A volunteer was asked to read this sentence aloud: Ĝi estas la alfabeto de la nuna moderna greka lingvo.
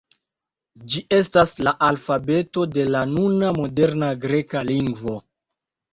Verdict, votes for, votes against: accepted, 2, 0